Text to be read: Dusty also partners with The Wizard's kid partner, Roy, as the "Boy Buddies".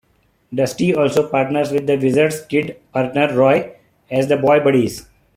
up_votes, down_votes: 0, 2